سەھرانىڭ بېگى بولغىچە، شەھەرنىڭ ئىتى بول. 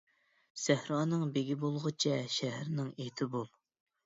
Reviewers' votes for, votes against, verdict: 3, 0, accepted